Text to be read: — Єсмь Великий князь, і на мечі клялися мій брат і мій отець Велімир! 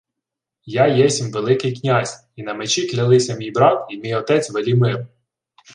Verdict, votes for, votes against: rejected, 1, 2